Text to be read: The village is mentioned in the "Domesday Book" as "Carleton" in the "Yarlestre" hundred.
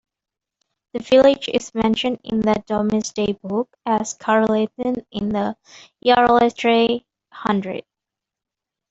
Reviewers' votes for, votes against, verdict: 1, 2, rejected